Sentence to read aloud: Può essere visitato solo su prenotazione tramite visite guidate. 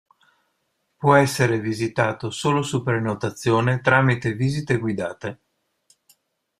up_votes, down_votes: 2, 0